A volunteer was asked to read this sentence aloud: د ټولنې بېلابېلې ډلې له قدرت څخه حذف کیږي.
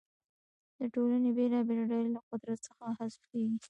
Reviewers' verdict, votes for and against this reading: rejected, 1, 2